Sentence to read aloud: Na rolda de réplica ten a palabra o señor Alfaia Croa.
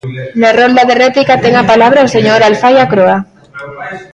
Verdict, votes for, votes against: rejected, 0, 2